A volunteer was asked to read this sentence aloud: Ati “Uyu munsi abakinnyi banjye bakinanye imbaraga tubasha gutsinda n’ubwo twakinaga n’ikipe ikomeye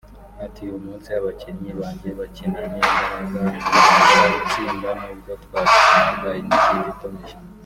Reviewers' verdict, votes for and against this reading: rejected, 0, 2